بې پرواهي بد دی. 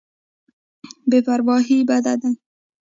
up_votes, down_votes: 2, 0